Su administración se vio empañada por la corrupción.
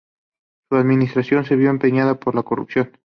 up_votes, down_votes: 2, 0